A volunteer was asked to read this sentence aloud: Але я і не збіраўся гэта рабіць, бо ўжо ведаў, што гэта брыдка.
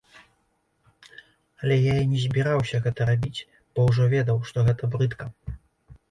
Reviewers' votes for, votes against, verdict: 3, 0, accepted